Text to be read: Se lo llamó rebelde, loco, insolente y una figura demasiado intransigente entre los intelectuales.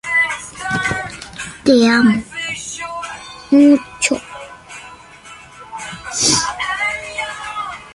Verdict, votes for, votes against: rejected, 0, 2